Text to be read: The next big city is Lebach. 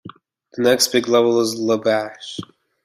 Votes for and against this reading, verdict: 0, 2, rejected